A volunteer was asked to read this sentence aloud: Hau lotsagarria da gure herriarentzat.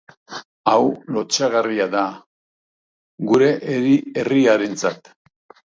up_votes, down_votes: 0, 2